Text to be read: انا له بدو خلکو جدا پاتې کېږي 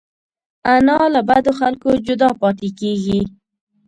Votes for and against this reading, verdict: 1, 2, rejected